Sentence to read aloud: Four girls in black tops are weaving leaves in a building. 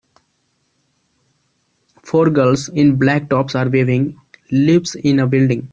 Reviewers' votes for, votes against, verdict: 2, 0, accepted